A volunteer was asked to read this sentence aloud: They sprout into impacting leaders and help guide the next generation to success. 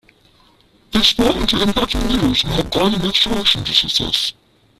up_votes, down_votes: 0, 2